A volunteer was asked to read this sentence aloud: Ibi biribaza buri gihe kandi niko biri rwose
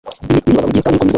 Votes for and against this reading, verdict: 1, 2, rejected